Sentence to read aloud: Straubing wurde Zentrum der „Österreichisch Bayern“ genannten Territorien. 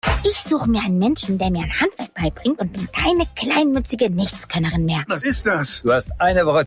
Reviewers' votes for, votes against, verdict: 0, 2, rejected